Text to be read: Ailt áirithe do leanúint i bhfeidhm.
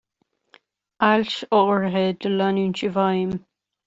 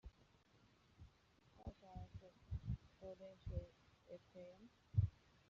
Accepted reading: first